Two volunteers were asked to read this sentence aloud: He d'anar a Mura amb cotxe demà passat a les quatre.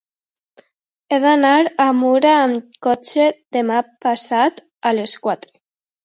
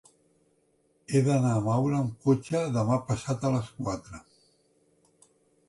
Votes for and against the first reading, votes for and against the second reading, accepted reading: 2, 0, 0, 2, first